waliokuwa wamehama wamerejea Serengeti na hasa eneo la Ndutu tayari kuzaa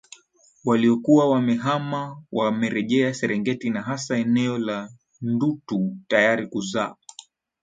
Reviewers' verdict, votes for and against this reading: rejected, 1, 2